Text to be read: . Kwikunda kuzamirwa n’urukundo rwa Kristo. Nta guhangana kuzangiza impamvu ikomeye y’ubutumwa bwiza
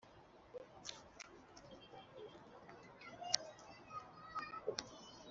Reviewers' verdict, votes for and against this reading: rejected, 0, 2